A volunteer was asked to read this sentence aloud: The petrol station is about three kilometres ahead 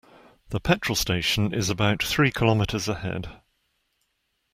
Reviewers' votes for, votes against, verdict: 2, 0, accepted